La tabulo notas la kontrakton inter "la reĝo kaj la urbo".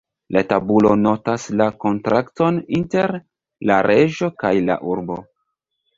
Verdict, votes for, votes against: accepted, 2, 0